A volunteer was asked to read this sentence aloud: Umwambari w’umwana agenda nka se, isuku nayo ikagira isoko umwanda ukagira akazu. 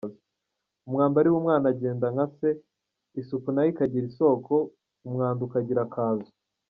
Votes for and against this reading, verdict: 2, 0, accepted